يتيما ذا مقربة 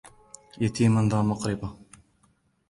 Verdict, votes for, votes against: rejected, 1, 2